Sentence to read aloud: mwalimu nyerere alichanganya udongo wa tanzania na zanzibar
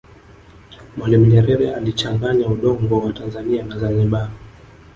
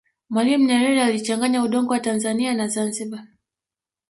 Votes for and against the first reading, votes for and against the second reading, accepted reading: 2, 0, 0, 2, first